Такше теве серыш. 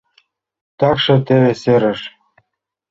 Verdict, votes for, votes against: accepted, 2, 0